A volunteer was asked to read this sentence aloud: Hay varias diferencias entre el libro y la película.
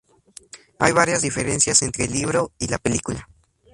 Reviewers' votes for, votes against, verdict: 2, 0, accepted